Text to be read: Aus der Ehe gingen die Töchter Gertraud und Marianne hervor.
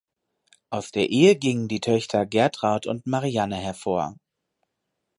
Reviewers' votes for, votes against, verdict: 2, 2, rejected